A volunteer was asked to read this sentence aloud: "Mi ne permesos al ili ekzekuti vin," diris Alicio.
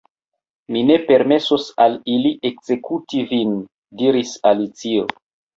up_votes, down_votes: 2, 1